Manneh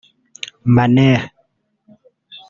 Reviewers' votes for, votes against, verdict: 1, 2, rejected